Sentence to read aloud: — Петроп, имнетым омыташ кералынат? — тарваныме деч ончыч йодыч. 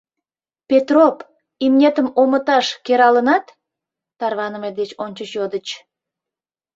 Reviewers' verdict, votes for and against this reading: accepted, 2, 0